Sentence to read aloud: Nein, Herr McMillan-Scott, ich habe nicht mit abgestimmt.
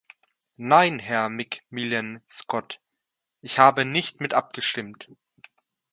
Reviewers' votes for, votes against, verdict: 2, 0, accepted